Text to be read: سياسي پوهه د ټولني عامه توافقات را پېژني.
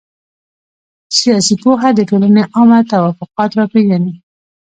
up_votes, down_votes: 2, 0